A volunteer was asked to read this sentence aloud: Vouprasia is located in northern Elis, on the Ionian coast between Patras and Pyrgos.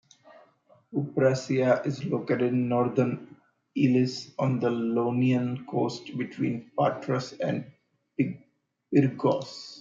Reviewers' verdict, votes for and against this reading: rejected, 1, 2